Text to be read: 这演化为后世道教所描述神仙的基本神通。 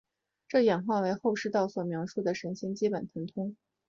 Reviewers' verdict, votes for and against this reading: accepted, 3, 0